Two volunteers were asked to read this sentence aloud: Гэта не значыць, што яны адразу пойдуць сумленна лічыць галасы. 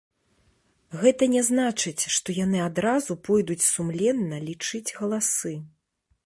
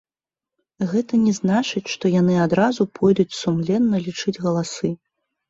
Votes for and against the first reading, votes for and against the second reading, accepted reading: 2, 0, 1, 2, first